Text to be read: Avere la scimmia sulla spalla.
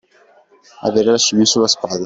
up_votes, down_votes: 2, 0